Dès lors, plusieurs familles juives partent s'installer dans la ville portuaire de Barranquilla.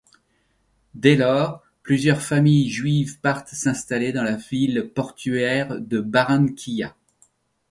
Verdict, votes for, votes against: rejected, 1, 2